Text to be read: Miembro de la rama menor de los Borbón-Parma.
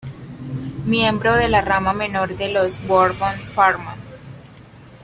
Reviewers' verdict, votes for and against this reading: accepted, 2, 0